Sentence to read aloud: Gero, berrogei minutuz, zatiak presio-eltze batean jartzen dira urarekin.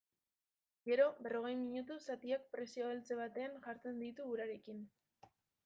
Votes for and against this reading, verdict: 0, 2, rejected